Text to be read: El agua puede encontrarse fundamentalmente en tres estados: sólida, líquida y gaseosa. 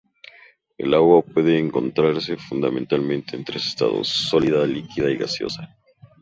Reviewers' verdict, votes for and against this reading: accepted, 4, 0